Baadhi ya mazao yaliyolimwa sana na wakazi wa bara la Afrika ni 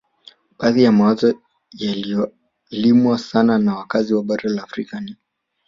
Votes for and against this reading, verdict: 1, 2, rejected